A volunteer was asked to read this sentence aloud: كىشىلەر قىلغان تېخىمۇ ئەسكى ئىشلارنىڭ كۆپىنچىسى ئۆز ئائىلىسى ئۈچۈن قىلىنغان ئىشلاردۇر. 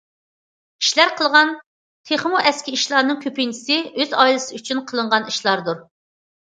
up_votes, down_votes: 2, 0